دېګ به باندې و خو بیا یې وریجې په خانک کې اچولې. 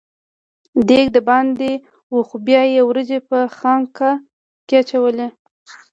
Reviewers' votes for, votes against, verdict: 1, 2, rejected